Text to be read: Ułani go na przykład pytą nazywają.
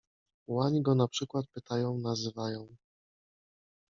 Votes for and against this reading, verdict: 0, 2, rejected